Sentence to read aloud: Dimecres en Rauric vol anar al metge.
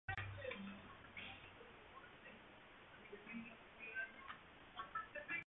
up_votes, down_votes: 0, 2